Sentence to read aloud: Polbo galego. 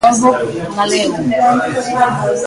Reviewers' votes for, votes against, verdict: 1, 2, rejected